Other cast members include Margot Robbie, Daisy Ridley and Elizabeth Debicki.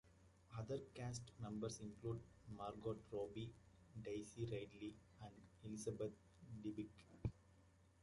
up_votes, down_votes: 0, 2